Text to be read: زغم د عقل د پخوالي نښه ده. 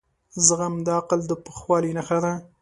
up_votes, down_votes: 2, 0